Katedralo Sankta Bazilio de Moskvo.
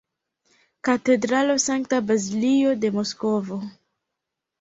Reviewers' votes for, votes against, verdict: 2, 1, accepted